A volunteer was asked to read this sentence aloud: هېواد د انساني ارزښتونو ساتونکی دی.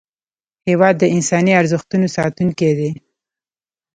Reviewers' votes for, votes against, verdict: 2, 0, accepted